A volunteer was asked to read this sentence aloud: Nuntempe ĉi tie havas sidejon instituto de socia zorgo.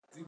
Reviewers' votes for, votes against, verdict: 1, 2, rejected